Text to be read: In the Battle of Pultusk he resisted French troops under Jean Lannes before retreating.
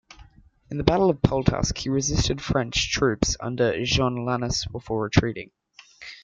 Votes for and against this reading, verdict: 2, 0, accepted